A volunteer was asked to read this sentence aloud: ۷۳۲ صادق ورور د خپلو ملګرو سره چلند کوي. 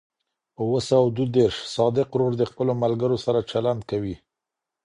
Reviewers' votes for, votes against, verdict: 0, 2, rejected